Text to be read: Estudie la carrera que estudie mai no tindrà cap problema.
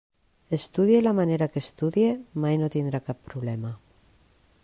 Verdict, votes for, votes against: rejected, 0, 2